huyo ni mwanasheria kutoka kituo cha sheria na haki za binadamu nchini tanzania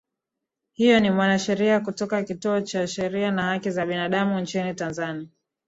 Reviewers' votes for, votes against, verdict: 2, 0, accepted